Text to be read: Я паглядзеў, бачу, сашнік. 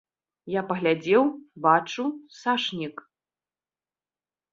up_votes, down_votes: 2, 1